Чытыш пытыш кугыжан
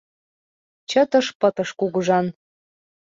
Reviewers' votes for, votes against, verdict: 2, 0, accepted